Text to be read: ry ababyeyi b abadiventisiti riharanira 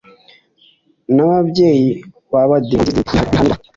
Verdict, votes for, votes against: accepted, 2, 0